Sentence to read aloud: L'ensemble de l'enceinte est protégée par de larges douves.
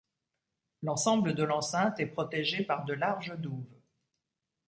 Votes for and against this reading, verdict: 3, 0, accepted